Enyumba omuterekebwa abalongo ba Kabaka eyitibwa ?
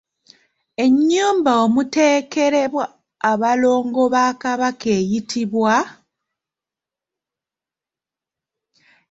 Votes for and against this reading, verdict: 1, 2, rejected